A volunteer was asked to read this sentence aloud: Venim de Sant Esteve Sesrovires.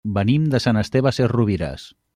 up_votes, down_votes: 3, 0